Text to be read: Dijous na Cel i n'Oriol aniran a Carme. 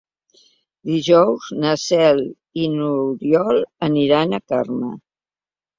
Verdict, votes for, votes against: accepted, 2, 0